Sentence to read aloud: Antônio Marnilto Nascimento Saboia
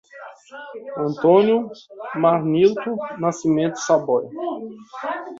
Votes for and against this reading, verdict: 1, 2, rejected